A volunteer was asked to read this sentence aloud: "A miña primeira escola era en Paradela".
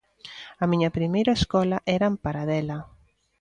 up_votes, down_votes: 2, 0